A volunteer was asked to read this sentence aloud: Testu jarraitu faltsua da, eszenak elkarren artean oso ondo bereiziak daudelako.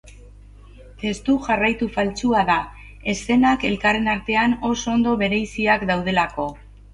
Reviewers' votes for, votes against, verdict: 4, 0, accepted